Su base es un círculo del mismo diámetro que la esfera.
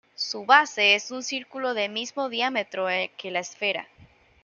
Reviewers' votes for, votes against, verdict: 2, 1, accepted